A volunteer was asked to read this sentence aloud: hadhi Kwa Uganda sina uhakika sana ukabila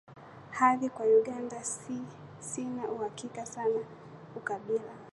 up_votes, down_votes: 4, 5